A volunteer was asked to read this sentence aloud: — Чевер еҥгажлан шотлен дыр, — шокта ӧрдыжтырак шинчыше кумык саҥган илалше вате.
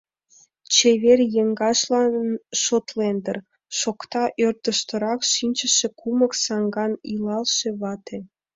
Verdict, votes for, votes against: rejected, 1, 2